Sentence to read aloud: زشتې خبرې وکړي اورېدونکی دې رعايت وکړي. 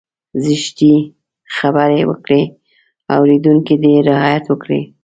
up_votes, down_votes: 1, 2